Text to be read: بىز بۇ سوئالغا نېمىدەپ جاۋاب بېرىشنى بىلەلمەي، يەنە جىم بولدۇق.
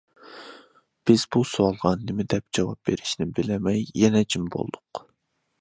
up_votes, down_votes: 2, 0